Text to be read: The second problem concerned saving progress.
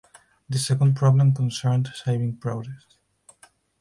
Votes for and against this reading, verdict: 4, 2, accepted